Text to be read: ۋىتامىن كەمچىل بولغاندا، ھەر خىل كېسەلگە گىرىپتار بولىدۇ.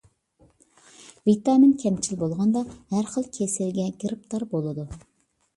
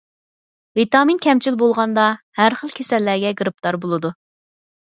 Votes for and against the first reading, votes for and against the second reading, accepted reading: 2, 0, 2, 4, first